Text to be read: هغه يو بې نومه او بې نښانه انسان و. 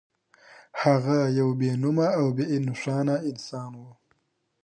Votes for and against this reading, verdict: 2, 0, accepted